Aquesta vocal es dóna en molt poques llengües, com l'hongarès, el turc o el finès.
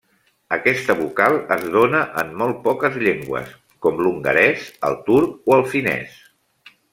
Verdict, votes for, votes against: accepted, 2, 0